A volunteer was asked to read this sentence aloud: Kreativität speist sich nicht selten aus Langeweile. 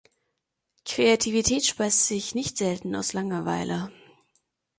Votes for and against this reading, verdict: 2, 0, accepted